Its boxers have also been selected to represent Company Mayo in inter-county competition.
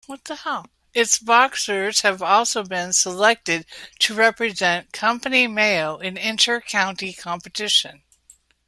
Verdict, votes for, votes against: rejected, 0, 2